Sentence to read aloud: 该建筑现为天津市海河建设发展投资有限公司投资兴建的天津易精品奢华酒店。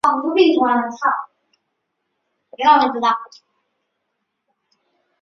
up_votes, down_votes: 0, 2